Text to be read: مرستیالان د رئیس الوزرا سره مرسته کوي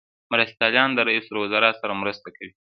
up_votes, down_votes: 2, 0